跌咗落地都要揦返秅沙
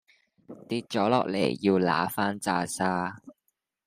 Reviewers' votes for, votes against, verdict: 0, 2, rejected